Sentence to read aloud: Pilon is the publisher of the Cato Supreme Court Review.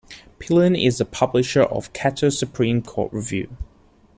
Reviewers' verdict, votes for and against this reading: rejected, 1, 2